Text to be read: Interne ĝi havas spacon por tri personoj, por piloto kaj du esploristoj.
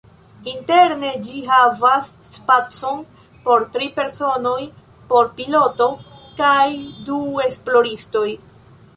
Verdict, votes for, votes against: accepted, 2, 0